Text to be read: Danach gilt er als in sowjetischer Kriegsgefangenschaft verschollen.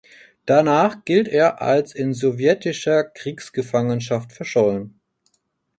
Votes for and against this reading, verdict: 4, 0, accepted